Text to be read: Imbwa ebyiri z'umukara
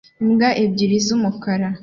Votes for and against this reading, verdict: 2, 0, accepted